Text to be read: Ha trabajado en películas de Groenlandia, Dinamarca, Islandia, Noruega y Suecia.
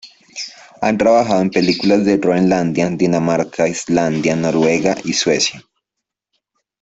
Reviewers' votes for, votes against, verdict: 2, 1, accepted